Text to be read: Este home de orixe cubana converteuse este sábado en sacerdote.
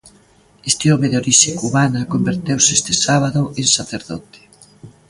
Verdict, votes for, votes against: accepted, 2, 0